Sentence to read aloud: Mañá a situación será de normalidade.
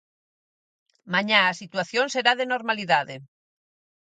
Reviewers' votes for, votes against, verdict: 4, 0, accepted